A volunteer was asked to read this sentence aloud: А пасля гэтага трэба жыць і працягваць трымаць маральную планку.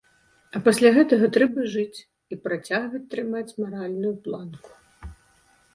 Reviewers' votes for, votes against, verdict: 2, 0, accepted